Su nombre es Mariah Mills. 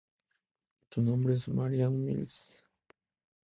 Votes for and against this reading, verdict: 4, 0, accepted